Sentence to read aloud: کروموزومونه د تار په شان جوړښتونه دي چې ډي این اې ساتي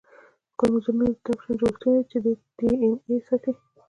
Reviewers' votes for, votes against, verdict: 0, 2, rejected